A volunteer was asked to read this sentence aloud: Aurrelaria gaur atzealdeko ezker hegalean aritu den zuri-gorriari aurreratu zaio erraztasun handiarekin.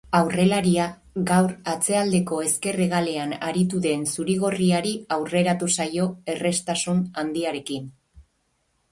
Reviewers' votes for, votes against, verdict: 2, 6, rejected